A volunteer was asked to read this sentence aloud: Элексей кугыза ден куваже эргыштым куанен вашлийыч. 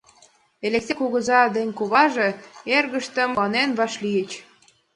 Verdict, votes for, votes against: accepted, 2, 0